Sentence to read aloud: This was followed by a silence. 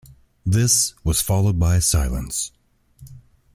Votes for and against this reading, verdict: 2, 0, accepted